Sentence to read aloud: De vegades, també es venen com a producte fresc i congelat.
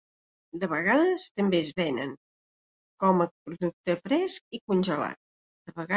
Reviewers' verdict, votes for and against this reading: rejected, 1, 2